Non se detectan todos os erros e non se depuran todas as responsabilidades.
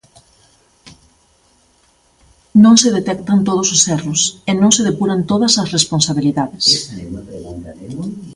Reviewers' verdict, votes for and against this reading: rejected, 0, 2